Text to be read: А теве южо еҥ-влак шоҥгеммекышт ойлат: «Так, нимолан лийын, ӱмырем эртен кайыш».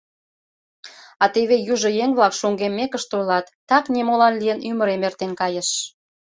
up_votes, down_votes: 2, 0